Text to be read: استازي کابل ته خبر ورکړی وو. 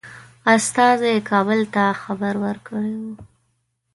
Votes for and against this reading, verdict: 1, 2, rejected